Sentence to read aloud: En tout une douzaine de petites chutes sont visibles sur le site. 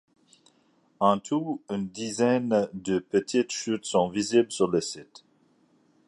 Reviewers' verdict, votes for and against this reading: rejected, 1, 2